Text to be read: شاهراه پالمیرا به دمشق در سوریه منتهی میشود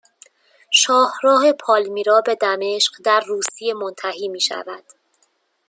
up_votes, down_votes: 0, 2